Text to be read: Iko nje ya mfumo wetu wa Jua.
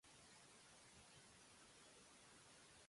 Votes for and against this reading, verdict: 0, 2, rejected